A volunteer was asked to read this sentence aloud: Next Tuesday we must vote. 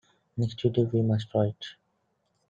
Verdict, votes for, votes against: rejected, 1, 2